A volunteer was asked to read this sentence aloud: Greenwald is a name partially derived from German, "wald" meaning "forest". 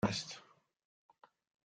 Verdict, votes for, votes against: rejected, 0, 2